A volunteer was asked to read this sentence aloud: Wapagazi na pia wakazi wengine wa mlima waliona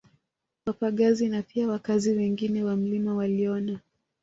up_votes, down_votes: 1, 2